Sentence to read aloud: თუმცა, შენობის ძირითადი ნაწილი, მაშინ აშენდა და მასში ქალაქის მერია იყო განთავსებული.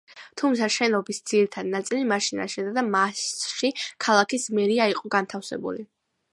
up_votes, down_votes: 2, 0